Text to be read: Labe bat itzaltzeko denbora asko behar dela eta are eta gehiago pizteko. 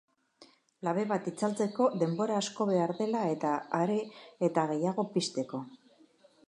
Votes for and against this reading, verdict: 1, 2, rejected